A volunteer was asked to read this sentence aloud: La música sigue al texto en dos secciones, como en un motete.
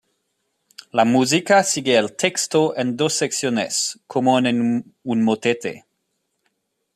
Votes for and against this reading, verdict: 1, 2, rejected